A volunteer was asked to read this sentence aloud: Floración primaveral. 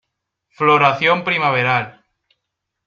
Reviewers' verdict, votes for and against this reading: accepted, 2, 0